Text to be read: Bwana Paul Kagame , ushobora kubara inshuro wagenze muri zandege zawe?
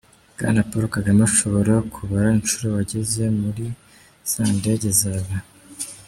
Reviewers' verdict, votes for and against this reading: accepted, 2, 1